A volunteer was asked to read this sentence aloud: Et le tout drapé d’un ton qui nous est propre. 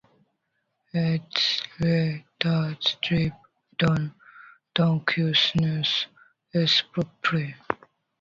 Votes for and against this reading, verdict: 0, 2, rejected